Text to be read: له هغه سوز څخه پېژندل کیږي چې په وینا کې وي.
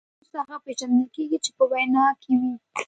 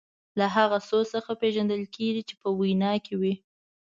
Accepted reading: second